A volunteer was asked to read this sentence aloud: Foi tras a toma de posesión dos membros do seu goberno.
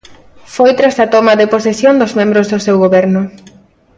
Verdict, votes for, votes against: accepted, 2, 0